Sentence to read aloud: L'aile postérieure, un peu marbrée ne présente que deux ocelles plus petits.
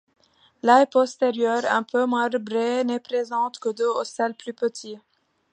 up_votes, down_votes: 1, 2